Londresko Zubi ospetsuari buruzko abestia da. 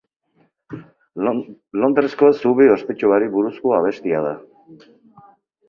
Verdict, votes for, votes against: rejected, 0, 6